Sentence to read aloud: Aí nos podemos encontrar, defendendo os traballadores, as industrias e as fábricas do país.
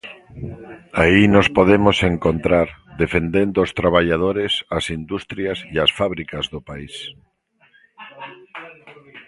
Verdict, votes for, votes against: rejected, 1, 2